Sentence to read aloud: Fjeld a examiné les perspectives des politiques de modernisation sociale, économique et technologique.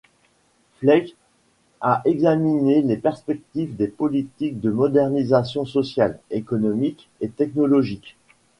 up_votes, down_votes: 0, 2